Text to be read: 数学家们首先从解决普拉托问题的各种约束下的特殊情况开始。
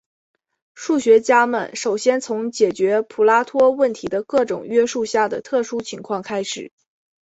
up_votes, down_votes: 3, 0